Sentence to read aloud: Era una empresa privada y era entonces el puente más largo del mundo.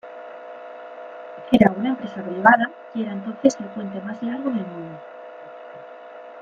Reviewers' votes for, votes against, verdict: 0, 2, rejected